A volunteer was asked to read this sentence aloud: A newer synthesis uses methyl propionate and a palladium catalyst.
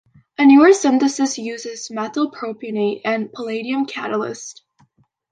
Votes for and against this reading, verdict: 2, 0, accepted